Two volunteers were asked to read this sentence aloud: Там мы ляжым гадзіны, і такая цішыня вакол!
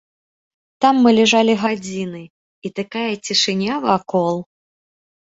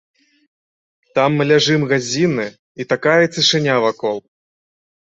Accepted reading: second